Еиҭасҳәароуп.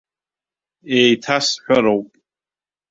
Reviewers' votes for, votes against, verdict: 1, 2, rejected